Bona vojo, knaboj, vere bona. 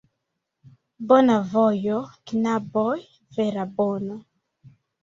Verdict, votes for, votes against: rejected, 0, 2